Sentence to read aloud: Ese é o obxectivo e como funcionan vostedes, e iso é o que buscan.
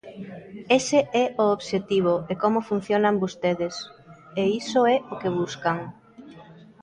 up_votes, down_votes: 1, 2